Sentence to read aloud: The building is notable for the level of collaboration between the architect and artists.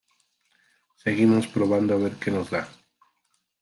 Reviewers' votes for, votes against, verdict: 0, 2, rejected